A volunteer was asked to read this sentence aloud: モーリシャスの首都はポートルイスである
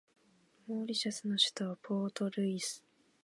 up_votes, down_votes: 1, 4